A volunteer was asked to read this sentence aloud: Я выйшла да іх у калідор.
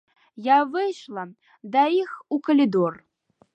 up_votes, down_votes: 2, 0